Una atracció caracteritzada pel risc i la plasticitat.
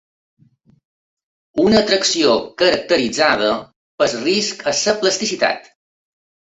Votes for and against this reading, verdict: 0, 2, rejected